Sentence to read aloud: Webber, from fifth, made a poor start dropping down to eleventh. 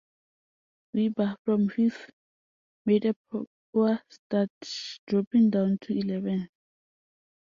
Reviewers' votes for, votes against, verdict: 0, 2, rejected